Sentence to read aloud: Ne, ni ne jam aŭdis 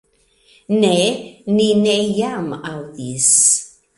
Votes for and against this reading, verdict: 2, 0, accepted